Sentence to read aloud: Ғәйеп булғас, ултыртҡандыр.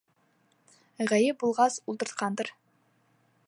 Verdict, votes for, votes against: accepted, 3, 0